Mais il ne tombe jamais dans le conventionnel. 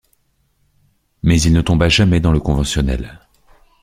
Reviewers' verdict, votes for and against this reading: rejected, 0, 2